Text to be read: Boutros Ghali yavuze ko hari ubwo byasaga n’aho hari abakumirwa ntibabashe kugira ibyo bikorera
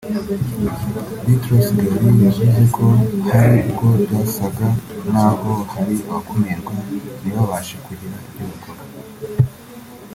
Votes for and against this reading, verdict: 2, 0, accepted